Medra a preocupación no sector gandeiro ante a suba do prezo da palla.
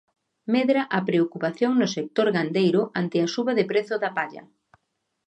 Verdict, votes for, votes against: rejected, 0, 2